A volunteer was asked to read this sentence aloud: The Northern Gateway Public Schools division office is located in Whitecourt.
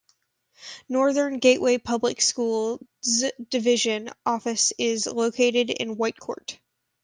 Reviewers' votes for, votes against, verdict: 1, 2, rejected